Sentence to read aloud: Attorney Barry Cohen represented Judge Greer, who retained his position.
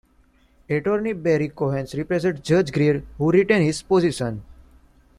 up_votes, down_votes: 1, 2